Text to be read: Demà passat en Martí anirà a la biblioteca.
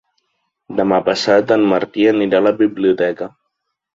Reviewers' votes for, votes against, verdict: 2, 0, accepted